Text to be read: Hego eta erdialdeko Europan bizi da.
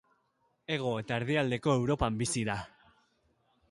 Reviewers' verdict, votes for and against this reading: accepted, 2, 0